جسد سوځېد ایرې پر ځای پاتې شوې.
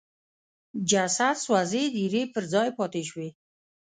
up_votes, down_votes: 2, 0